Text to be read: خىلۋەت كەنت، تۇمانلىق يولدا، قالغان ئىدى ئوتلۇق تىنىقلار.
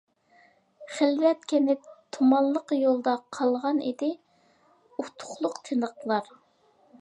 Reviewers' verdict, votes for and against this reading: rejected, 1, 2